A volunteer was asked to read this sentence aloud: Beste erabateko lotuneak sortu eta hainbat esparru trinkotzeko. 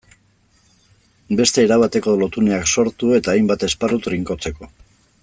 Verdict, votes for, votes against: accepted, 2, 0